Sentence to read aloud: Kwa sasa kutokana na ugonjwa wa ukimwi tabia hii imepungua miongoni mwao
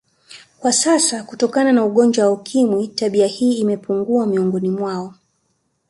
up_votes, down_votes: 3, 0